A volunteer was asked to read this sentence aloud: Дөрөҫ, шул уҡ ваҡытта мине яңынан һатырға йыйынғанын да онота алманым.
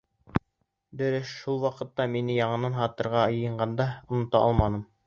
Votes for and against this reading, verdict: 0, 2, rejected